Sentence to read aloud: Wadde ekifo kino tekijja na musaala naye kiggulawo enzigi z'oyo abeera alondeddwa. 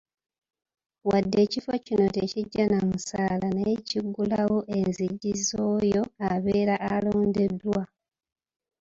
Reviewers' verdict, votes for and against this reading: rejected, 1, 3